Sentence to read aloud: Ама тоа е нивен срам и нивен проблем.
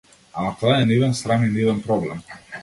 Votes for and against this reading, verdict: 2, 0, accepted